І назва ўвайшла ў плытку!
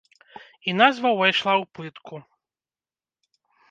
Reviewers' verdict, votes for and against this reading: rejected, 1, 2